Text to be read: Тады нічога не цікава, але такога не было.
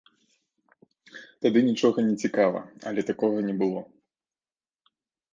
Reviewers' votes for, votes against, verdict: 2, 0, accepted